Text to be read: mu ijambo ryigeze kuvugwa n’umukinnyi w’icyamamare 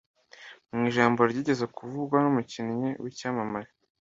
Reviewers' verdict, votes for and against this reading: accepted, 2, 0